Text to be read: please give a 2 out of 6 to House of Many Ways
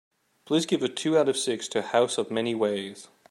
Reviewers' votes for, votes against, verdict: 0, 2, rejected